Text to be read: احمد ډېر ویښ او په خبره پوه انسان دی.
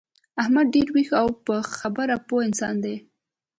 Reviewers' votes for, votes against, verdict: 2, 0, accepted